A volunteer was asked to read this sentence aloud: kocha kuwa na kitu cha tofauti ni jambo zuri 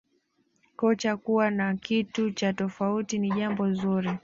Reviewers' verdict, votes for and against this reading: accepted, 2, 0